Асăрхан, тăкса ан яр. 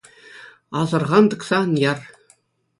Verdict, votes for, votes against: accepted, 2, 0